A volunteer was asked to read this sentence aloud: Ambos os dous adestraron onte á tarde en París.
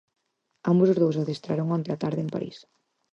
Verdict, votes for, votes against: accepted, 6, 0